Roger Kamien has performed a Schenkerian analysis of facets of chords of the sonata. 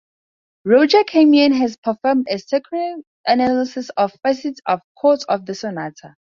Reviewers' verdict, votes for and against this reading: rejected, 0, 4